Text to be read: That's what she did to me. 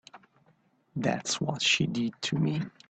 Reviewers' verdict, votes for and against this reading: accepted, 2, 0